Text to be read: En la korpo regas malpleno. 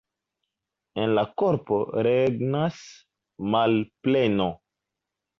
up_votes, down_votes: 1, 2